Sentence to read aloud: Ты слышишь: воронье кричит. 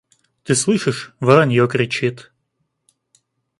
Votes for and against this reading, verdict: 2, 0, accepted